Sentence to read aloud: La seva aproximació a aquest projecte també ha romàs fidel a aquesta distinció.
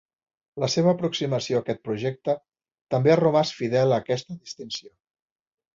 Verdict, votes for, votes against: rejected, 1, 2